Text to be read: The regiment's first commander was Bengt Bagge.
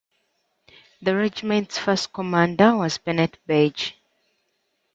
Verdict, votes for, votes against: rejected, 1, 2